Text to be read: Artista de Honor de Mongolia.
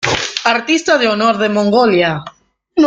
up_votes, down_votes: 2, 0